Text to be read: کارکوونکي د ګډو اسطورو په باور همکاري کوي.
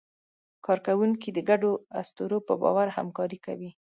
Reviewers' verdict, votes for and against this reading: accepted, 2, 0